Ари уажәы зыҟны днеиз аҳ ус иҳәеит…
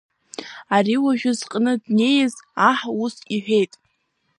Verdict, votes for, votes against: accepted, 2, 0